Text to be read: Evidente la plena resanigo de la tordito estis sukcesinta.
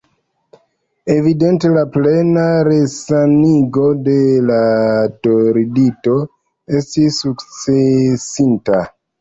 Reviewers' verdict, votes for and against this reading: accepted, 2, 0